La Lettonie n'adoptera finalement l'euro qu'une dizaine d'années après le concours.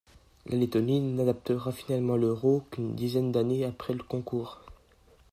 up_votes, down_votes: 2, 0